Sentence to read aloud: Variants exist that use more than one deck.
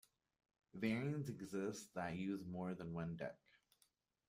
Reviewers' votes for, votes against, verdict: 2, 0, accepted